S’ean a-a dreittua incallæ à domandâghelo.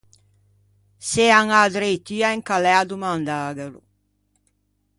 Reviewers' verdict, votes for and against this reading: rejected, 0, 2